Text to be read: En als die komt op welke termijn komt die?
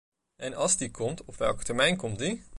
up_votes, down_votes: 0, 2